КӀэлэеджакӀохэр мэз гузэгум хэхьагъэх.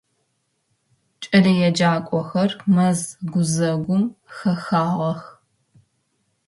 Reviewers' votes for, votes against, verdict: 1, 2, rejected